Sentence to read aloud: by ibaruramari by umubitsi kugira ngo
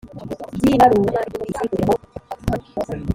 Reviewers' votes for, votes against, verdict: 0, 2, rejected